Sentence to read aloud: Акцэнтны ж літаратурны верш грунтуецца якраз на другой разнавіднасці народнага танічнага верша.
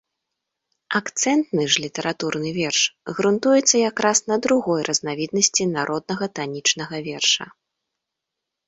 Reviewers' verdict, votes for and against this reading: accepted, 2, 0